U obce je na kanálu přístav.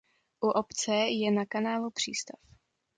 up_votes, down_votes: 2, 0